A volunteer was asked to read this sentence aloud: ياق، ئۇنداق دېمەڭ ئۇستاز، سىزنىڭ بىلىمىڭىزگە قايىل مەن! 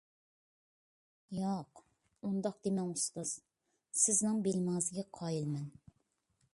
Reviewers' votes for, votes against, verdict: 2, 0, accepted